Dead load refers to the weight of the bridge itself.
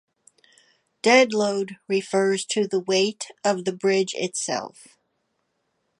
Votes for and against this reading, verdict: 2, 0, accepted